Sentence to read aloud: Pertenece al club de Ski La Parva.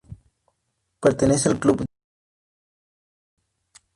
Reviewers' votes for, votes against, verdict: 0, 2, rejected